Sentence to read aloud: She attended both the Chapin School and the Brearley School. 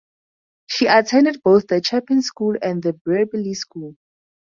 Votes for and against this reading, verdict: 4, 0, accepted